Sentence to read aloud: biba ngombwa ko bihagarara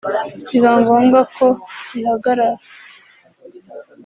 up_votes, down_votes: 0, 2